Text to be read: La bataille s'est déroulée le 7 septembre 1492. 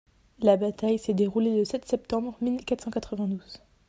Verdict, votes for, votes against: rejected, 0, 2